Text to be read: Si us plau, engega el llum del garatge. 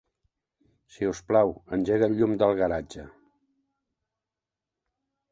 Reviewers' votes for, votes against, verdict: 2, 0, accepted